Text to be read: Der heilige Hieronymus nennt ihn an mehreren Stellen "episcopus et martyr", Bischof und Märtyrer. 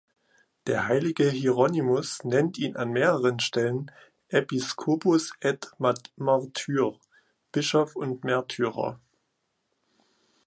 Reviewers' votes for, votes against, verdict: 1, 2, rejected